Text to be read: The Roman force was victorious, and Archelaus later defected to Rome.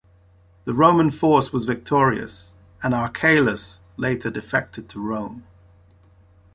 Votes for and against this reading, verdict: 2, 0, accepted